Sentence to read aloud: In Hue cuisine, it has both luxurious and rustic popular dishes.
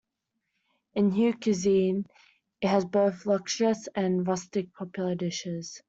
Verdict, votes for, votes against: rejected, 1, 2